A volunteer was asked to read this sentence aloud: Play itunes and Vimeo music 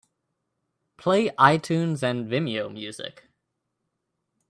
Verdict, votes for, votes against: accepted, 2, 0